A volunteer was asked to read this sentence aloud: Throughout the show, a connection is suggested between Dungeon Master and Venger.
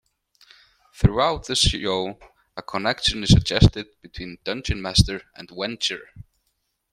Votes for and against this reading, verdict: 2, 1, accepted